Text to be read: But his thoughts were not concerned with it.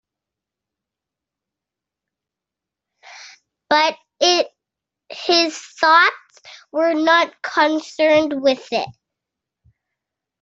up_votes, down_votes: 2, 1